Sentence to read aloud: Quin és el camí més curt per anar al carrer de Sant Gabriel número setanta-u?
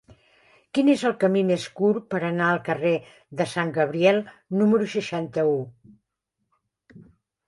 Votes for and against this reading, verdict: 0, 4, rejected